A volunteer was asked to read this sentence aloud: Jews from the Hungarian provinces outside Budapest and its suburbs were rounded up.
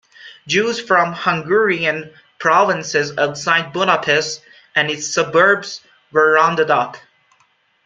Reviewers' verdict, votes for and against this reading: rejected, 1, 2